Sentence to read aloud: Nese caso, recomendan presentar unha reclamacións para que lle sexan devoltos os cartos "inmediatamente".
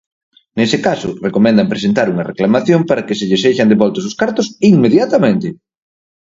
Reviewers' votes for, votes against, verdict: 0, 4, rejected